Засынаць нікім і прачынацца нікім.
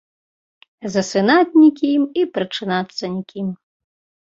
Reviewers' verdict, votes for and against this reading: accepted, 2, 0